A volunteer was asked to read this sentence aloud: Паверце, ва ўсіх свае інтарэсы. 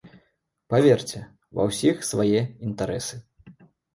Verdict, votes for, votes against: accepted, 2, 0